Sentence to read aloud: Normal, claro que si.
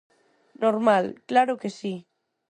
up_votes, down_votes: 4, 0